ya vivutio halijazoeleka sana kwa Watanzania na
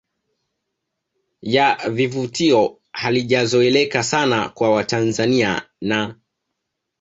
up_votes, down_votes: 2, 0